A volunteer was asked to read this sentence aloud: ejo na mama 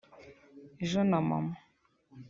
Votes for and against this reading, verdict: 3, 0, accepted